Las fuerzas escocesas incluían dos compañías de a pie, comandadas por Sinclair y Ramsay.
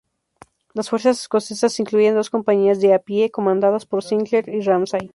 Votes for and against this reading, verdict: 0, 2, rejected